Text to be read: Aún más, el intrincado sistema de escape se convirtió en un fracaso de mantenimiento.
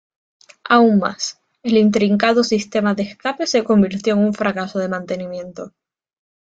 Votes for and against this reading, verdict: 2, 0, accepted